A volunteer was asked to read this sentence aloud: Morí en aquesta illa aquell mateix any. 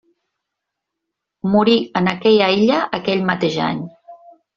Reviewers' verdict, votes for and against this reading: rejected, 1, 2